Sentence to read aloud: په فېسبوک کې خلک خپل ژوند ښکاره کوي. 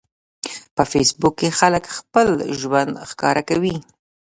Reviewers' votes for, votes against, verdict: 1, 2, rejected